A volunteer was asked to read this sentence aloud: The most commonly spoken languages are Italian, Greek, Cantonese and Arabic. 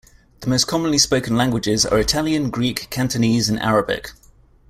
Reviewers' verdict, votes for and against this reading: accepted, 2, 0